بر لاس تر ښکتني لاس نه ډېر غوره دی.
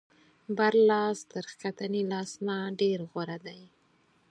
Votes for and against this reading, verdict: 4, 0, accepted